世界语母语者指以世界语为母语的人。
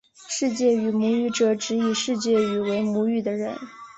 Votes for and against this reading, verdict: 2, 0, accepted